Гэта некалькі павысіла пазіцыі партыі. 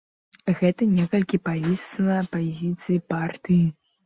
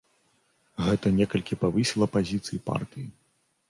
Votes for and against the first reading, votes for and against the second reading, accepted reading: 0, 2, 2, 0, second